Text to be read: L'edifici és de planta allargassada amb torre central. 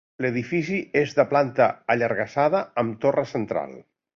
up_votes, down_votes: 2, 0